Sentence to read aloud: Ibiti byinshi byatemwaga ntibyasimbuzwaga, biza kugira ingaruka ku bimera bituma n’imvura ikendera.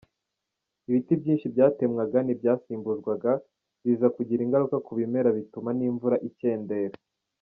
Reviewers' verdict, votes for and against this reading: accepted, 2, 0